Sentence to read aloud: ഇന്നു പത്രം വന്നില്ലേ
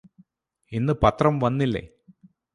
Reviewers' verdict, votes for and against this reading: accepted, 4, 0